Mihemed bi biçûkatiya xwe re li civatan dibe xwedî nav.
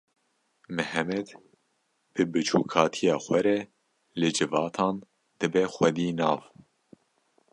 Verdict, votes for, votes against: accepted, 2, 0